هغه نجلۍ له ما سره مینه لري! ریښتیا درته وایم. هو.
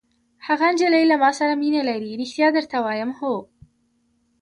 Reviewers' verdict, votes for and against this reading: rejected, 1, 3